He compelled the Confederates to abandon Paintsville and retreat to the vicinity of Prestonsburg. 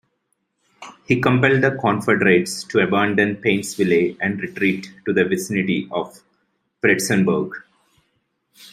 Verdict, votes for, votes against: rejected, 1, 2